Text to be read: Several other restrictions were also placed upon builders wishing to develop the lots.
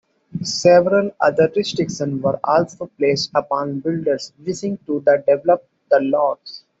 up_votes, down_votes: 2, 0